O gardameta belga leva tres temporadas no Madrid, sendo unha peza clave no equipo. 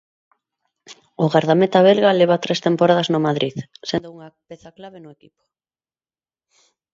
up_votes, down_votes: 2, 0